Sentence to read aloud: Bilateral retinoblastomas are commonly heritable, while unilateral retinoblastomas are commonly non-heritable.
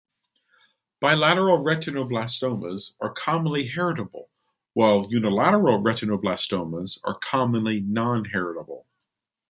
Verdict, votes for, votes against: rejected, 0, 2